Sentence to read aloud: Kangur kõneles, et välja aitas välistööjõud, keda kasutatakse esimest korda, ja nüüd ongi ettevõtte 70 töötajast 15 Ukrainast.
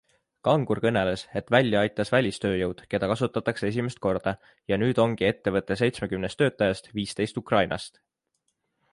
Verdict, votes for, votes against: rejected, 0, 2